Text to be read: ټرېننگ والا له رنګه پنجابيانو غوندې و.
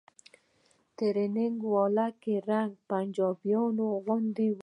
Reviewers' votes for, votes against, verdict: 1, 2, rejected